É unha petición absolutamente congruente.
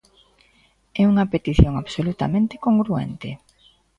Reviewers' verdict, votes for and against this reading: accepted, 2, 0